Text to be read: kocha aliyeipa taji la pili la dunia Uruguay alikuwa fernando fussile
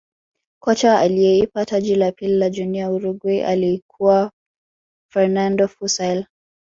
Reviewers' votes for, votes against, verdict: 1, 2, rejected